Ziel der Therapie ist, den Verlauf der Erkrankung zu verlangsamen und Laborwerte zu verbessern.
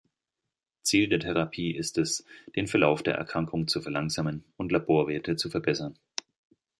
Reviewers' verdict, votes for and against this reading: rejected, 0, 2